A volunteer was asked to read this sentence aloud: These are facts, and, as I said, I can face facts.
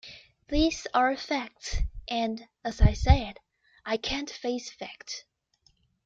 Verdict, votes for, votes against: rejected, 1, 2